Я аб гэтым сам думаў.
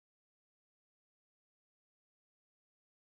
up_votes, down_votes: 0, 2